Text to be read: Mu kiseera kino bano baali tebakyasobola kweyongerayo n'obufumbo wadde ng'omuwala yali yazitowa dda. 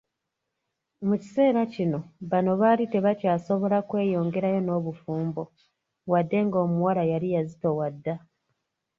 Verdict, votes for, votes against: rejected, 1, 2